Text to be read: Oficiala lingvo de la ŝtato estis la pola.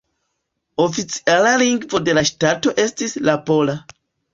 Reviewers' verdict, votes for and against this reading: accepted, 2, 0